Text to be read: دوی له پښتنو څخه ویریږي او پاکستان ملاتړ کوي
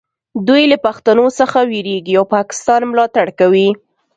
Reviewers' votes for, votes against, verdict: 2, 0, accepted